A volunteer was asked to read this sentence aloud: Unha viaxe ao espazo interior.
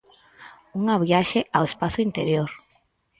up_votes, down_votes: 4, 0